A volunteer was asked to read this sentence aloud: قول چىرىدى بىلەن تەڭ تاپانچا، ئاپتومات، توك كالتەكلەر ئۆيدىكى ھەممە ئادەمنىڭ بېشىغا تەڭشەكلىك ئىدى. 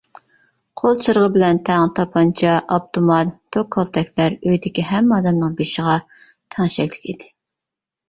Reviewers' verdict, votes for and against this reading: rejected, 0, 2